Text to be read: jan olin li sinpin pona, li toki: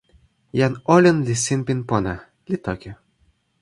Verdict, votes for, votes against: accepted, 2, 0